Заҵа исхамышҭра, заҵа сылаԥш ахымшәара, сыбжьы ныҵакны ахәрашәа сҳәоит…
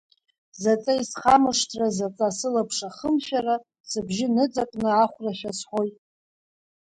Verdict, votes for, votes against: rejected, 0, 2